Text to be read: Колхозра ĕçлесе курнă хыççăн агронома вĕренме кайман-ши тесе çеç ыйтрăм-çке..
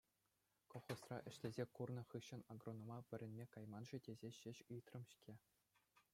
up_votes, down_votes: 2, 0